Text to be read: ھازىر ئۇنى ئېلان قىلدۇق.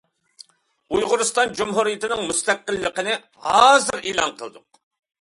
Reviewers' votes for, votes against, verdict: 0, 2, rejected